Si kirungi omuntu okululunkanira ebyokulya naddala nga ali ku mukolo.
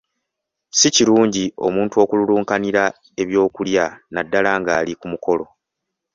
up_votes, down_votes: 2, 0